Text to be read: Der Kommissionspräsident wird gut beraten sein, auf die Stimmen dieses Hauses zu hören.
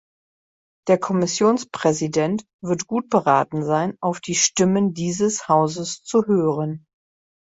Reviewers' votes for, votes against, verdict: 2, 0, accepted